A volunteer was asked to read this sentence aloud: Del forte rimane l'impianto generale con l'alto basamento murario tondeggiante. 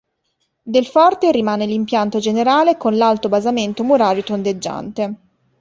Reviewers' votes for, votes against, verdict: 2, 0, accepted